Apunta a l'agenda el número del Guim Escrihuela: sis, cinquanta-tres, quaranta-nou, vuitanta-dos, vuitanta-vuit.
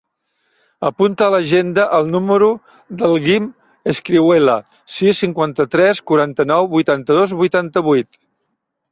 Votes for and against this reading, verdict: 2, 0, accepted